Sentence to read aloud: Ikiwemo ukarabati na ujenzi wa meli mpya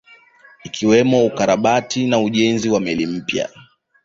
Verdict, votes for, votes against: accepted, 2, 0